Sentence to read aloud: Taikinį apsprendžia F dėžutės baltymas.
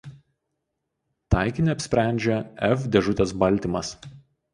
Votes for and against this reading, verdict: 2, 0, accepted